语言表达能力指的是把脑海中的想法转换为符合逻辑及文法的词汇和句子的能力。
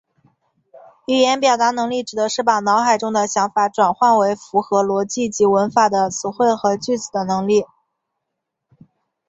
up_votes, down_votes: 4, 0